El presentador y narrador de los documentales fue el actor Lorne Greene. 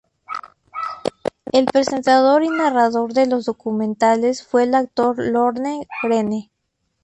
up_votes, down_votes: 2, 0